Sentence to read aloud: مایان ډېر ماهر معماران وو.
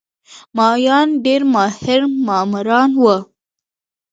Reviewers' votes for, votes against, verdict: 0, 2, rejected